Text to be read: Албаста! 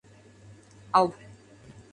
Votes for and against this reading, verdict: 0, 2, rejected